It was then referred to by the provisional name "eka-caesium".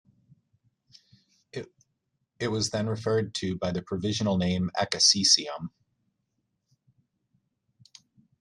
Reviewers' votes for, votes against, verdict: 0, 2, rejected